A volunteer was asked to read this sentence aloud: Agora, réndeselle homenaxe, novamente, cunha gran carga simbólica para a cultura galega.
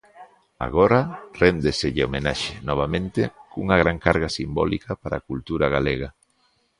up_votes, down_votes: 2, 0